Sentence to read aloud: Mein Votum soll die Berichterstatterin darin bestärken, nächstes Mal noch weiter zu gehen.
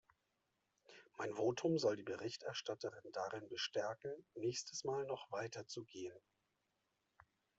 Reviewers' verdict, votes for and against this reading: rejected, 0, 2